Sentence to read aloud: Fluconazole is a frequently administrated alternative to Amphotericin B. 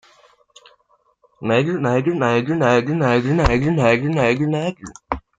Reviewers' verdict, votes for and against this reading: rejected, 0, 2